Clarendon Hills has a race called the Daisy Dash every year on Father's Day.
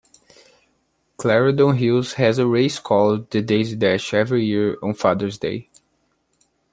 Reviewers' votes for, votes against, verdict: 3, 0, accepted